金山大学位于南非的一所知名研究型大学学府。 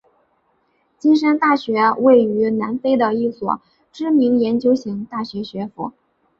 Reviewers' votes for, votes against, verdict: 3, 0, accepted